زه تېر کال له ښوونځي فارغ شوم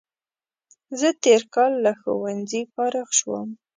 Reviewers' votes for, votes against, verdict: 2, 0, accepted